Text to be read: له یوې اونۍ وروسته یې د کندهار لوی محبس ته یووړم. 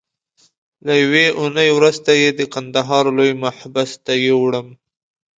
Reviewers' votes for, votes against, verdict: 2, 0, accepted